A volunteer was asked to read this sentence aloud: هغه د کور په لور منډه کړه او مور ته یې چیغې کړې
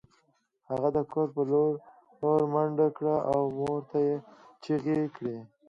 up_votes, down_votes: 2, 0